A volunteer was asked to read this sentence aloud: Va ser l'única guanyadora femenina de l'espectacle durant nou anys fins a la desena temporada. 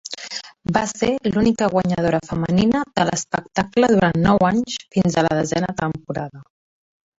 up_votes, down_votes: 4, 1